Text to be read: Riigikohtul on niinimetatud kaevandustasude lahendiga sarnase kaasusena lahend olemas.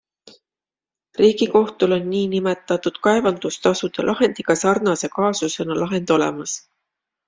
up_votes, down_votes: 2, 0